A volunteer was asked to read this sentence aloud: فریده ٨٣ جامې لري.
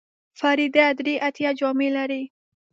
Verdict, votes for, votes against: rejected, 0, 2